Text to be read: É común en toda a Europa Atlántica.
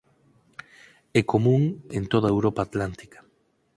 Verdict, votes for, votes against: accepted, 4, 0